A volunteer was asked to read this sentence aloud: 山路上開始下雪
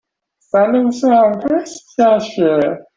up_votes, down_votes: 1, 2